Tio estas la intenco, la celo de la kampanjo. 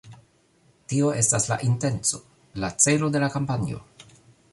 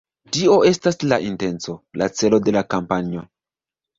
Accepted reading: first